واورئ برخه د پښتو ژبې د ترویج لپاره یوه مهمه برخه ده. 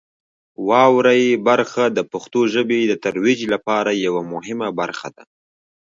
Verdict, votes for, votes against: rejected, 1, 2